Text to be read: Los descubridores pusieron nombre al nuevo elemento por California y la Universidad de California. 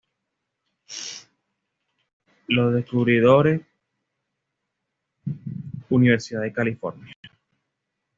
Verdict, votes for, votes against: rejected, 1, 2